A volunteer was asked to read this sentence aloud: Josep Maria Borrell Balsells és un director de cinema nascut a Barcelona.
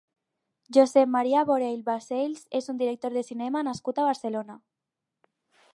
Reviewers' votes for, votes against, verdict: 2, 2, rejected